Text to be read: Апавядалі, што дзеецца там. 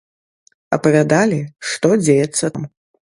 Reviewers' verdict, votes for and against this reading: rejected, 1, 2